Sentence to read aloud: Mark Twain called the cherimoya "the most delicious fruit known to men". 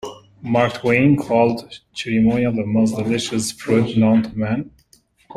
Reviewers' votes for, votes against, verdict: 2, 0, accepted